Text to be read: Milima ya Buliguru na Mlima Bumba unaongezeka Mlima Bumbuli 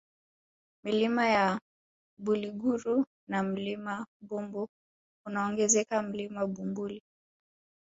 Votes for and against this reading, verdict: 1, 2, rejected